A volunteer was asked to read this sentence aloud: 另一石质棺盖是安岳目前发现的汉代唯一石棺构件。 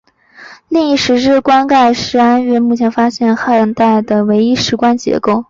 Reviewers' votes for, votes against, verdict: 0, 2, rejected